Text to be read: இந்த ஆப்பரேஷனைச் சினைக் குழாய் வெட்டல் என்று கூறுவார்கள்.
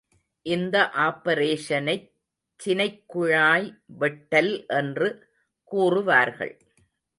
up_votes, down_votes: 2, 0